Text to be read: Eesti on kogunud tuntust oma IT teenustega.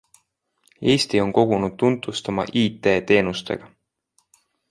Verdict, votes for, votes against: accepted, 2, 1